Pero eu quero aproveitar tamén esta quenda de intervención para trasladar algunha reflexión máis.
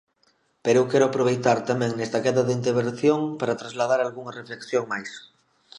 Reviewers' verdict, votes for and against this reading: rejected, 1, 2